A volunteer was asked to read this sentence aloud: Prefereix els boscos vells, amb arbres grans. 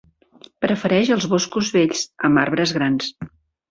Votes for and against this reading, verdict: 2, 0, accepted